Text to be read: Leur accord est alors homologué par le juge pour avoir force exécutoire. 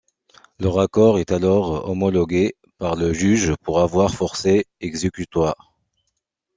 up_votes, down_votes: 0, 2